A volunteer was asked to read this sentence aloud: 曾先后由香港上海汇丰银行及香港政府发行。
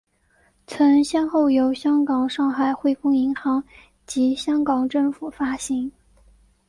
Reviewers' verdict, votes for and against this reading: accepted, 4, 0